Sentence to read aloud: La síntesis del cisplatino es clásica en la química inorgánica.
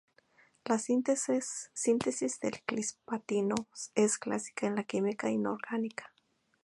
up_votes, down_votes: 2, 2